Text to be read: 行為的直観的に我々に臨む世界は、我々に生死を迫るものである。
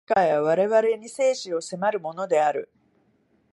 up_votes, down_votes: 0, 3